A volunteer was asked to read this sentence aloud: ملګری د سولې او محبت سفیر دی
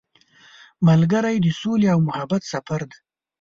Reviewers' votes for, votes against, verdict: 0, 2, rejected